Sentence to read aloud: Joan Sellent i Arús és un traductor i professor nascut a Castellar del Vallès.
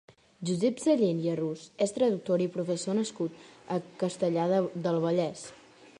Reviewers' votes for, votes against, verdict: 1, 2, rejected